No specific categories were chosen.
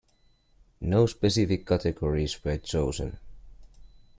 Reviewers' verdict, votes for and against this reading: accepted, 2, 0